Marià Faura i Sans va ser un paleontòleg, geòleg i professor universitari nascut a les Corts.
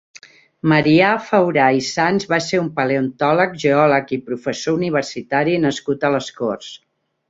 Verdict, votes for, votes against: rejected, 1, 2